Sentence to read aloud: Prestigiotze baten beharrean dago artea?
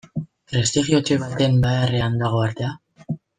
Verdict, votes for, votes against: rejected, 1, 2